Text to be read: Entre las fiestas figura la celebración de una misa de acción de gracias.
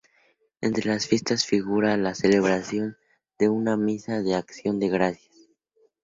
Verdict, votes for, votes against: accepted, 2, 0